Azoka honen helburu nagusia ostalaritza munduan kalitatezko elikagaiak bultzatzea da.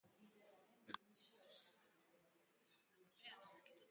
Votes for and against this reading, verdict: 0, 2, rejected